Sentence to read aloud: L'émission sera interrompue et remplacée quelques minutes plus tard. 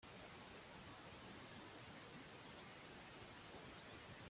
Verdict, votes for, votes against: rejected, 0, 2